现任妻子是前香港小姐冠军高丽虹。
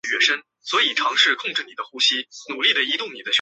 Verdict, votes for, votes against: rejected, 0, 3